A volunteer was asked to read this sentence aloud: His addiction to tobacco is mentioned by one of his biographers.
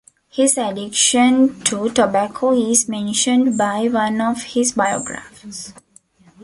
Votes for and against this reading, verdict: 2, 1, accepted